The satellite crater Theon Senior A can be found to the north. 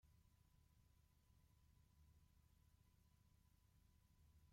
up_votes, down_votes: 0, 2